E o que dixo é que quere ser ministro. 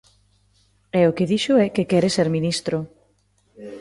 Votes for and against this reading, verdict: 2, 0, accepted